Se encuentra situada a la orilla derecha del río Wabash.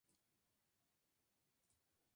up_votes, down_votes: 0, 2